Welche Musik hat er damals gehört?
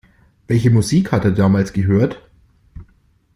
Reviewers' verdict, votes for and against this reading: accepted, 2, 0